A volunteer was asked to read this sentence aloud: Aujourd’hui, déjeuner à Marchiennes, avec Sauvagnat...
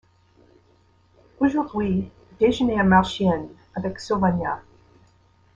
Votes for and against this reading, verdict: 2, 0, accepted